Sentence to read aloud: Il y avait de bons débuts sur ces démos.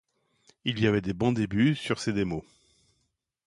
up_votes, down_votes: 1, 2